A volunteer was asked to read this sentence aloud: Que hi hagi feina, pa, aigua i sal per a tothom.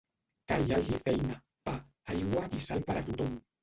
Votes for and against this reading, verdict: 0, 2, rejected